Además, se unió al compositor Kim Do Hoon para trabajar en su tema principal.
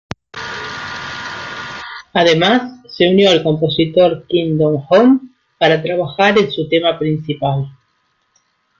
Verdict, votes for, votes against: accepted, 2, 0